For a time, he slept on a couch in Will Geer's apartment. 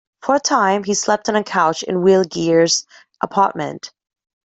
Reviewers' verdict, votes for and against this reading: accepted, 2, 0